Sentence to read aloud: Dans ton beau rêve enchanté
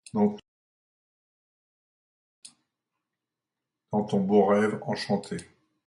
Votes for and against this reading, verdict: 1, 2, rejected